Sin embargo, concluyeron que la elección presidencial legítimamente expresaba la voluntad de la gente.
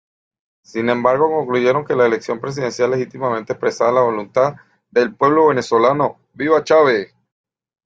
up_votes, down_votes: 0, 2